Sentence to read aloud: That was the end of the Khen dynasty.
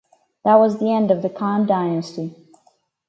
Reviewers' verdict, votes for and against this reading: accepted, 4, 2